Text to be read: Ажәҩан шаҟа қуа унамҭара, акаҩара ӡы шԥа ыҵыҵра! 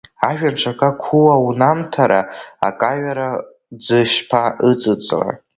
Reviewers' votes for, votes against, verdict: 0, 2, rejected